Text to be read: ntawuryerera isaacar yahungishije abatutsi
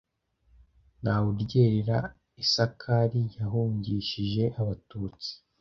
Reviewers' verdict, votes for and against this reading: accepted, 2, 0